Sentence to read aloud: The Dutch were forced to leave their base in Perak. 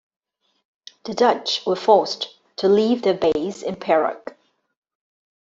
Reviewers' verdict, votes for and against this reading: accepted, 2, 0